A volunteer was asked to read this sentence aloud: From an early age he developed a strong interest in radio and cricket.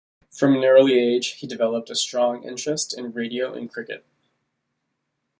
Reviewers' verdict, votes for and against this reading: accepted, 2, 0